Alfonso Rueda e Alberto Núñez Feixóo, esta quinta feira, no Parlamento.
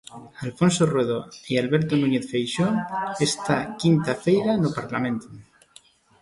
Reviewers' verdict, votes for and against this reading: rejected, 0, 2